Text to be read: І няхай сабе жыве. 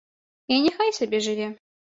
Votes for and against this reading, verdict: 2, 0, accepted